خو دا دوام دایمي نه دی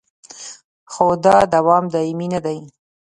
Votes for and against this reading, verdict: 3, 0, accepted